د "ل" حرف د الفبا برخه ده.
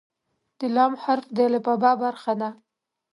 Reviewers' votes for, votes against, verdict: 2, 0, accepted